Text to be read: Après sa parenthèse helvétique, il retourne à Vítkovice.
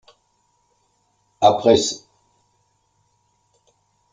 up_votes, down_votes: 0, 3